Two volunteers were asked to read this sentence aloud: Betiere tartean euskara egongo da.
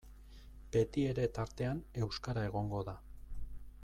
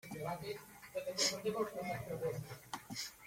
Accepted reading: first